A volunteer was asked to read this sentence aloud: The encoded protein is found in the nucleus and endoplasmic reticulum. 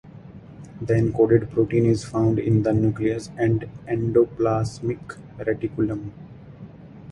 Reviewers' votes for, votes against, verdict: 4, 0, accepted